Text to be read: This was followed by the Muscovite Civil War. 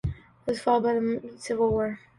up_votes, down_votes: 1, 2